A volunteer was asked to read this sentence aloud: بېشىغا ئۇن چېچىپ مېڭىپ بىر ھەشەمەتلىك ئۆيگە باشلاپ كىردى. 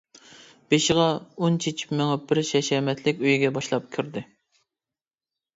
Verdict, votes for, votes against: rejected, 0, 2